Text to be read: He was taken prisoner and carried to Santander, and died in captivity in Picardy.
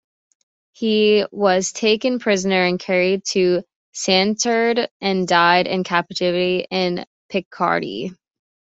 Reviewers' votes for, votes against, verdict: 1, 2, rejected